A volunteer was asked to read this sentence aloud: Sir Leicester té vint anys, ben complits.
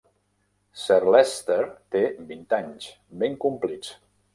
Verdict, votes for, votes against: rejected, 1, 2